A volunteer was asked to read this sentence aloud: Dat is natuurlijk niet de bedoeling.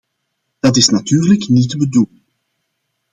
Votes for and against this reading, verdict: 1, 2, rejected